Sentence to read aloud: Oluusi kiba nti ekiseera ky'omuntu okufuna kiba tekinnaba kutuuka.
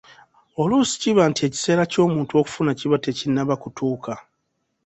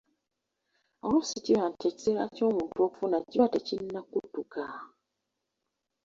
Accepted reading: first